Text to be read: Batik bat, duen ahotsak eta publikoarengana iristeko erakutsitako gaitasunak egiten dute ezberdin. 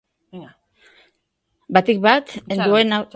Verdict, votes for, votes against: rejected, 0, 5